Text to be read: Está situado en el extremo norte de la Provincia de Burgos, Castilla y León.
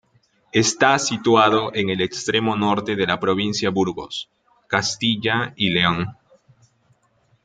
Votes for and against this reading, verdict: 0, 2, rejected